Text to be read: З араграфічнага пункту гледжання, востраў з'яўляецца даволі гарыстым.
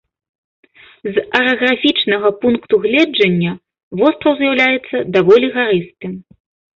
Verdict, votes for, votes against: accepted, 2, 0